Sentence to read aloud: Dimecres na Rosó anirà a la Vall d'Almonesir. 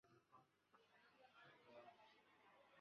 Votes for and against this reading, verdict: 0, 2, rejected